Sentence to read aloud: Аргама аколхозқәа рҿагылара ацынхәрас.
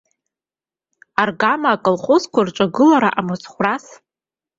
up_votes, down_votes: 0, 2